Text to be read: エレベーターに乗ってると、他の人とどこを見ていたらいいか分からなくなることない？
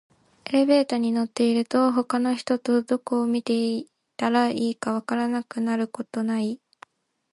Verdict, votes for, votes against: accepted, 2, 0